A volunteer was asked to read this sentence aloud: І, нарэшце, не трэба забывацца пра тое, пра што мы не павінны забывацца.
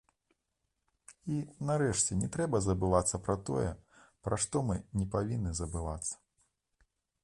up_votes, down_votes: 2, 0